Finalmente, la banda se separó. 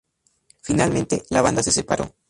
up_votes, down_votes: 0, 2